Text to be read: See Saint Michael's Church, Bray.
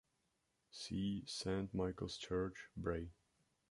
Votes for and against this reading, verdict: 2, 1, accepted